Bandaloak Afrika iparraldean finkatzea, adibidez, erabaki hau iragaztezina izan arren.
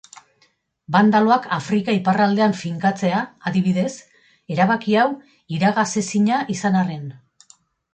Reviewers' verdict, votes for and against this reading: rejected, 1, 2